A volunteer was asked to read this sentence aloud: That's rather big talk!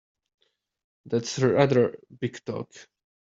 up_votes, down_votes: 0, 2